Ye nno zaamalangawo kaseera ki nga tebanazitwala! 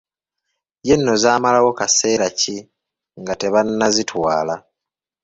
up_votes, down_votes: 0, 2